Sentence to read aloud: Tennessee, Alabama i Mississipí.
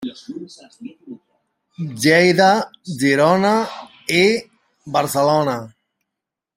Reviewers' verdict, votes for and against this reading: rejected, 0, 2